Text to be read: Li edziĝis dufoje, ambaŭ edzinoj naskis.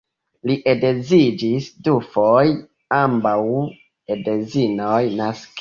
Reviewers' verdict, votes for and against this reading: rejected, 1, 2